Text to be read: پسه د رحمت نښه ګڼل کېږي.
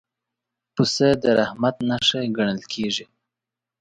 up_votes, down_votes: 2, 0